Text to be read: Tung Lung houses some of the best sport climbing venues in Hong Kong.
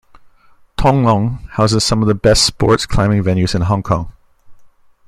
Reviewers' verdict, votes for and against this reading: rejected, 1, 2